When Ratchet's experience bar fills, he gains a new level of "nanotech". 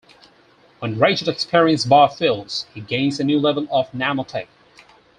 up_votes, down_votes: 6, 4